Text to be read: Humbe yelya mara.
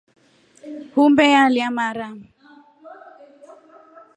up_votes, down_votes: 2, 0